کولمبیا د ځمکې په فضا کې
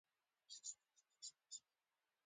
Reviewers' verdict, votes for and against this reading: rejected, 0, 2